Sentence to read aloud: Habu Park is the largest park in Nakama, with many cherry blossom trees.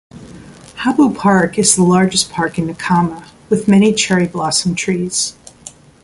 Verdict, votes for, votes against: accepted, 2, 0